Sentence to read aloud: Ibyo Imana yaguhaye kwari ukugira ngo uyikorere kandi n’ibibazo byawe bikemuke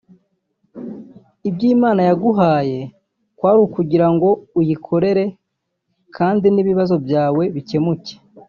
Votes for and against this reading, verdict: 2, 0, accepted